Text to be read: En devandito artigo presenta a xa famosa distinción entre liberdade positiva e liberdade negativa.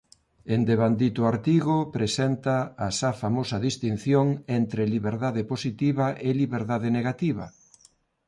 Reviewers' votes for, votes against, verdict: 2, 0, accepted